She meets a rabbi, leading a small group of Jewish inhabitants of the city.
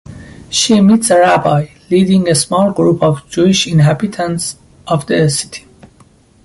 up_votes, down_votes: 2, 0